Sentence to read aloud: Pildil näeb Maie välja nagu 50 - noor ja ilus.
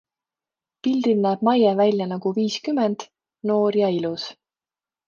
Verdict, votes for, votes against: rejected, 0, 2